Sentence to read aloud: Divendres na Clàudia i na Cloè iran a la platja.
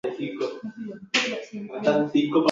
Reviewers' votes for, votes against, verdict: 0, 2, rejected